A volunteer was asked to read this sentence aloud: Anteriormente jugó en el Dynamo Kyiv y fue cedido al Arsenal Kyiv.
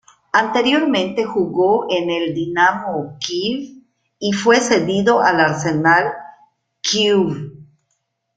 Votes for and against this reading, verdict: 1, 2, rejected